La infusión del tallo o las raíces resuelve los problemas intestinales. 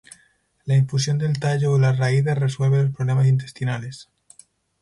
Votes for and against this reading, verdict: 0, 2, rejected